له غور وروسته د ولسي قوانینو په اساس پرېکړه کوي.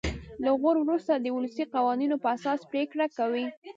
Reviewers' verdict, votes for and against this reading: rejected, 0, 2